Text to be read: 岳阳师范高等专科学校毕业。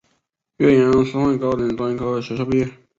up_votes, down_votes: 1, 2